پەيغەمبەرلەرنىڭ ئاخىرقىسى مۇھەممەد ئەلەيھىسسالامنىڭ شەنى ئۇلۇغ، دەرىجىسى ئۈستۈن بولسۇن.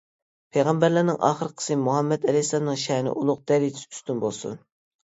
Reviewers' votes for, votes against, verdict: 2, 1, accepted